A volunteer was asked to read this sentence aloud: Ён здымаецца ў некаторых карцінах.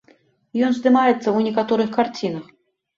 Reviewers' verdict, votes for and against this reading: accepted, 2, 0